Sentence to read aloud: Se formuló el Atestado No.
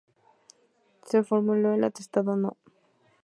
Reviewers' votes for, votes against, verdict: 2, 0, accepted